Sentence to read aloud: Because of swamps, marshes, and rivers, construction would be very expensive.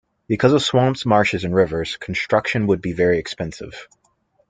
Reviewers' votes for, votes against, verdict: 2, 0, accepted